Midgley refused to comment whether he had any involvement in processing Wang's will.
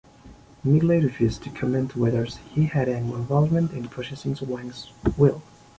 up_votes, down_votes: 2, 0